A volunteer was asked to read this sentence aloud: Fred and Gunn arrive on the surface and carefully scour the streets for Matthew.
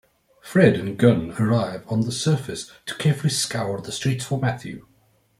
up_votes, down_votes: 1, 2